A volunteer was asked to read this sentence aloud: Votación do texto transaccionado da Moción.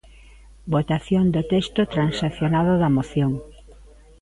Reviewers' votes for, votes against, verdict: 0, 2, rejected